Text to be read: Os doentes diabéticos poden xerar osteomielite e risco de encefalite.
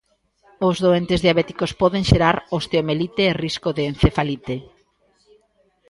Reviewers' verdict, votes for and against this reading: accepted, 2, 0